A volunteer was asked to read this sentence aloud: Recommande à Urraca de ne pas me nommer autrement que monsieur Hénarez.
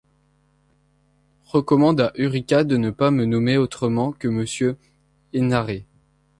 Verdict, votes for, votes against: rejected, 0, 2